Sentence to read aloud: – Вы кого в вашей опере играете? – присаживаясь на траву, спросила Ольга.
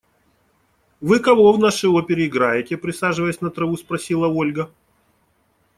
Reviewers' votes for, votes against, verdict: 0, 2, rejected